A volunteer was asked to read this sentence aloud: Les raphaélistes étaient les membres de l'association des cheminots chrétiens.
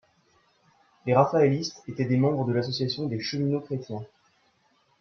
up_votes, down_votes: 1, 2